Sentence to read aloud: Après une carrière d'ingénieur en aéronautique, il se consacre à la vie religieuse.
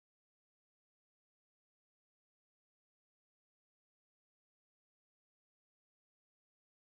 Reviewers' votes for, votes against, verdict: 0, 2, rejected